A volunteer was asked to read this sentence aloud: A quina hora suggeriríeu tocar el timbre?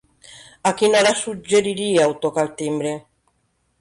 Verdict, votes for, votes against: accepted, 3, 0